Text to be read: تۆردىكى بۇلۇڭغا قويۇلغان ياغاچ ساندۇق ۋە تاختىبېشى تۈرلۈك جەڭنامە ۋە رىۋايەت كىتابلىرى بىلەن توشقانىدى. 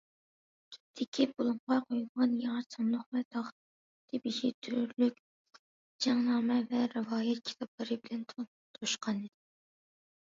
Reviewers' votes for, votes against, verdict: 0, 2, rejected